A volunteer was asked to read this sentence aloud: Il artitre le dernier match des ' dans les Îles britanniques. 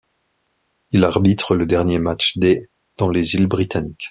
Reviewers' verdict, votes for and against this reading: rejected, 1, 2